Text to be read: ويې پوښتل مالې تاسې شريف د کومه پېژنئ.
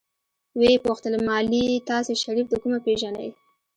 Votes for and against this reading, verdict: 1, 2, rejected